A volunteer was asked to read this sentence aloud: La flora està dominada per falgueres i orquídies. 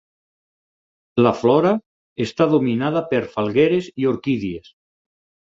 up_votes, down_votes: 8, 0